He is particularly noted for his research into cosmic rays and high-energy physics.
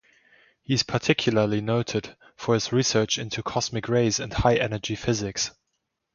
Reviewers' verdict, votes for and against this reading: accepted, 2, 0